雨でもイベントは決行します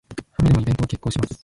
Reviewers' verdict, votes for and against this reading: rejected, 2, 4